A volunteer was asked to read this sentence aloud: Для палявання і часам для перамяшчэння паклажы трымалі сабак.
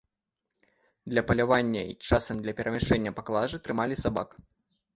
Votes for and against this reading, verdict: 2, 0, accepted